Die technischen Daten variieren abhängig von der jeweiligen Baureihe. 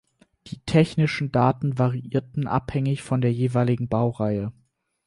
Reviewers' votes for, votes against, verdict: 2, 4, rejected